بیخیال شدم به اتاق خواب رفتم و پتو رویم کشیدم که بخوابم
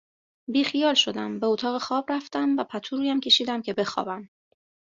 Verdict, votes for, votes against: accepted, 2, 0